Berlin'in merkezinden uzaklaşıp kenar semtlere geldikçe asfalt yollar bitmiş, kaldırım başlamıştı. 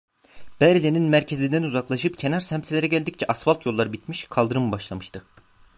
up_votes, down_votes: 1, 2